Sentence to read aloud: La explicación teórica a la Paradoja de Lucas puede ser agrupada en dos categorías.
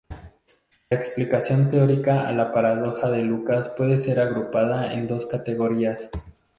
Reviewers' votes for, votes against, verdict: 0, 4, rejected